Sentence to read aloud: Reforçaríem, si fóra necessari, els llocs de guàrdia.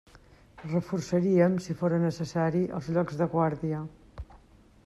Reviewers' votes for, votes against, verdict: 2, 0, accepted